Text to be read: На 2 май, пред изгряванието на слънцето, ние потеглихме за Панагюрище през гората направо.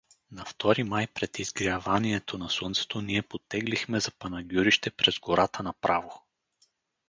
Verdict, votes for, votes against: rejected, 0, 2